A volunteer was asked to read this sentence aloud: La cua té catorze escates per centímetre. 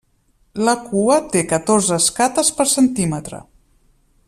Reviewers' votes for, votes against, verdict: 3, 0, accepted